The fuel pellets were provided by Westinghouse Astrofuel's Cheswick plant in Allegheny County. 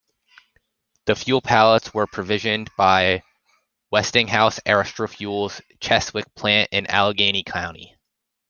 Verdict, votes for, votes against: rejected, 0, 2